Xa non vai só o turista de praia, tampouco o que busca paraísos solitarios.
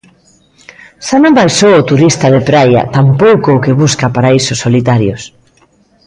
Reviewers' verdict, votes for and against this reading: accepted, 2, 0